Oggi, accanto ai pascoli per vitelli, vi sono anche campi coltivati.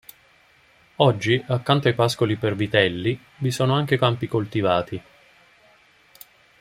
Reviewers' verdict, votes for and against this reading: accepted, 2, 0